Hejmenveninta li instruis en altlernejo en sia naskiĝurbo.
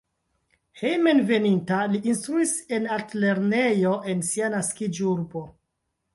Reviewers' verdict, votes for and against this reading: accepted, 2, 1